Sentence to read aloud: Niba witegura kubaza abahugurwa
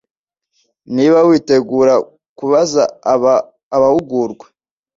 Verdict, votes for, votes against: rejected, 0, 2